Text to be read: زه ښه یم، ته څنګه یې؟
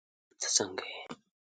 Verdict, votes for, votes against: rejected, 1, 2